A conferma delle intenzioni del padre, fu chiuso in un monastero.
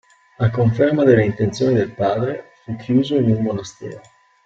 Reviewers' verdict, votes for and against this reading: accepted, 3, 0